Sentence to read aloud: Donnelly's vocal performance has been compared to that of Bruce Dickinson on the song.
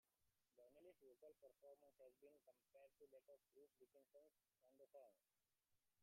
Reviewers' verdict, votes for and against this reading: rejected, 0, 2